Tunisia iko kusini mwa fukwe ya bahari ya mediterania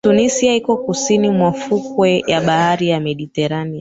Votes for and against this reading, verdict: 2, 1, accepted